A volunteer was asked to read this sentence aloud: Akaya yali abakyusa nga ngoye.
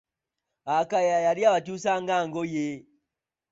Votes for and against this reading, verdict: 0, 2, rejected